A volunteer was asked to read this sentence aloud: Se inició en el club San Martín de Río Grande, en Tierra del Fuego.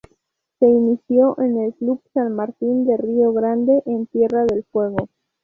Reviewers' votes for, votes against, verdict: 2, 2, rejected